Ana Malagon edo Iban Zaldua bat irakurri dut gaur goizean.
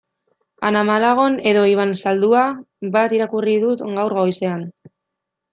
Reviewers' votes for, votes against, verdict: 2, 0, accepted